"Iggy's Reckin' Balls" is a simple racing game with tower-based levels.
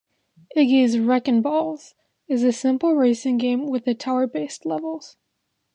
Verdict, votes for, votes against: accepted, 2, 0